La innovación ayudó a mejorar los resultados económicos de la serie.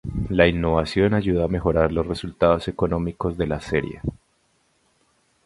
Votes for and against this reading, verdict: 2, 0, accepted